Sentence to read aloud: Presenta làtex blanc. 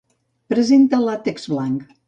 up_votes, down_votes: 2, 0